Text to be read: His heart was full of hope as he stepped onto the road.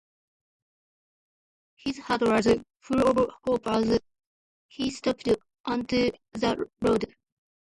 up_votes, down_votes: 1, 2